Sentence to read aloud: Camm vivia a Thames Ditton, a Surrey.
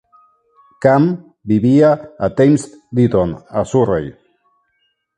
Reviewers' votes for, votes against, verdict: 1, 2, rejected